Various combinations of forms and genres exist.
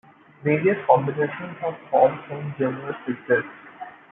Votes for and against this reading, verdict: 0, 2, rejected